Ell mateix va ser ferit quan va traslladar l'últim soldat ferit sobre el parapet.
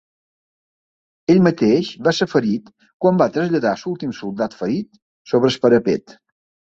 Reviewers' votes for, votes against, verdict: 2, 1, accepted